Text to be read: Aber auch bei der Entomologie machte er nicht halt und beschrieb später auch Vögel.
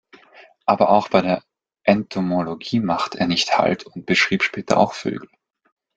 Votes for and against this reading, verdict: 2, 0, accepted